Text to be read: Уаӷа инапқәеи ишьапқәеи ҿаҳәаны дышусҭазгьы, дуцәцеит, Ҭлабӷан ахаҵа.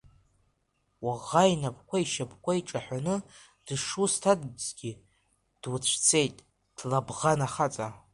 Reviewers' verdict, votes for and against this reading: accepted, 2, 0